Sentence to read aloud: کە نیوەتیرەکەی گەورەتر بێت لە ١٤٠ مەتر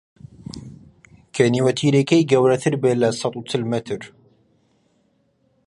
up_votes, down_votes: 0, 2